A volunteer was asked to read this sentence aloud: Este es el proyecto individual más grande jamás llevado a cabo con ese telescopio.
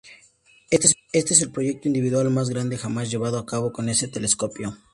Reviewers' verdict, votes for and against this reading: accepted, 2, 0